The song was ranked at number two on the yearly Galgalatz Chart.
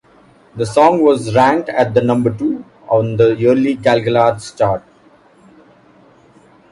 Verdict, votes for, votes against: accepted, 2, 1